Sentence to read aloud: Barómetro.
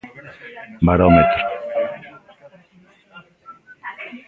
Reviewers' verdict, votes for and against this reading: rejected, 0, 2